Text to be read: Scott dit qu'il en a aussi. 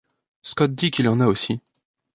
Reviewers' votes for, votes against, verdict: 2, 0, accepted